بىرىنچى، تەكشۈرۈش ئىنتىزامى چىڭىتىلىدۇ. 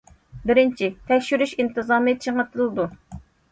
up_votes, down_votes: 2, 0